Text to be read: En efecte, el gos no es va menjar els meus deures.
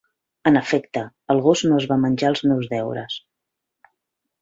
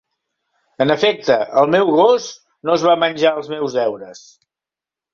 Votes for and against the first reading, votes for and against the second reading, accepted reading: 5, 0, 0, 2, first